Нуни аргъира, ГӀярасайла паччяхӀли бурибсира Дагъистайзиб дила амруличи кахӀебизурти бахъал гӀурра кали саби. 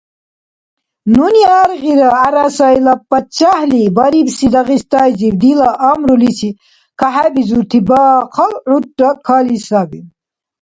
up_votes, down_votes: 0, 2